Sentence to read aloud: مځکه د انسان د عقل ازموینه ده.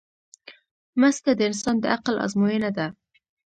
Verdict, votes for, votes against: rejected, 1, 2